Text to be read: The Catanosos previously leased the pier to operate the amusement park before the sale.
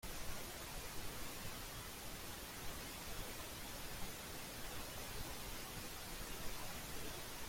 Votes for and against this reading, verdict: 0, 3, rejected